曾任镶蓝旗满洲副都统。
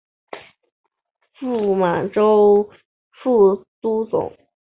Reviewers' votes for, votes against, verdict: 1, 2, rejected